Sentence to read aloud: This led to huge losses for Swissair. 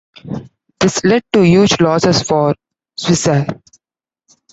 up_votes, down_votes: 2, 1